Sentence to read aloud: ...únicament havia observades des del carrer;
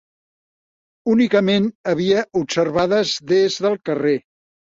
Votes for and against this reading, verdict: 5, 0, accepted